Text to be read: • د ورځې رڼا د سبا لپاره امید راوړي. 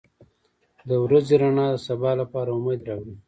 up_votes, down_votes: 2, 0